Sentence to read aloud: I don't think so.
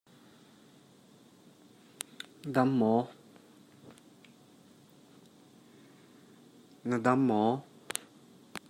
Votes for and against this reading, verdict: 0, 2, rejected